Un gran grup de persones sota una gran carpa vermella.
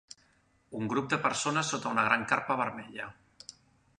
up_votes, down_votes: 2, 3